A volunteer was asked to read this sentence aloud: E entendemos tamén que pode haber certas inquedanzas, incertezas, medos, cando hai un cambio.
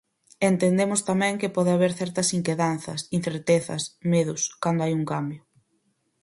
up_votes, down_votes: 4, 0